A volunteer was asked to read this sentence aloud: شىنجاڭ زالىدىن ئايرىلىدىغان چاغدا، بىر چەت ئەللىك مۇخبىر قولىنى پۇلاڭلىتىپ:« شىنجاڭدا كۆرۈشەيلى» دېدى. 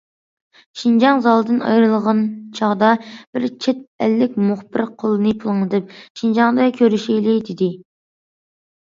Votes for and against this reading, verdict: 1, 2, rejected